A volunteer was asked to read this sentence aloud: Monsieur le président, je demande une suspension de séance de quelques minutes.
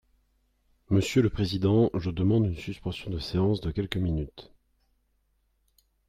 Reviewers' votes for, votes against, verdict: 3, 0, accepted